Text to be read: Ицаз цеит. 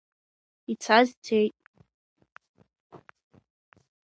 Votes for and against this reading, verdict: 2, 0, accepted